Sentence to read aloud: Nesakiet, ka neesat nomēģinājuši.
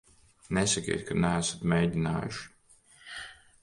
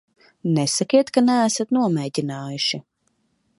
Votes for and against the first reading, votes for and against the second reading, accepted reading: 0, 2, 8, 0, second